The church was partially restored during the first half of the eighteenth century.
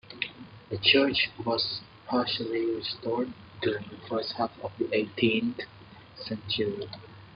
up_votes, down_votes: 2, 0